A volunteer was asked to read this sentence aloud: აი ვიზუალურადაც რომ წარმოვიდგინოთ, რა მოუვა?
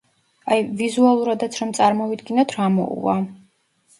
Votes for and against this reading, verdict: 2, 0, accepted